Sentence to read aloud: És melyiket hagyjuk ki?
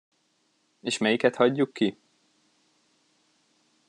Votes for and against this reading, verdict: 2, 0, accepted